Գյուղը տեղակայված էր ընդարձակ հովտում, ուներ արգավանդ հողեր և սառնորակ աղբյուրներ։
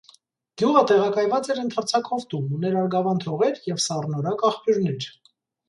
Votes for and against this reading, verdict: 2, 0, accepted